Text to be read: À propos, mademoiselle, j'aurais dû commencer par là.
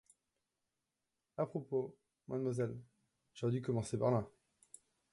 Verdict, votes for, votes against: rejected, 1, 2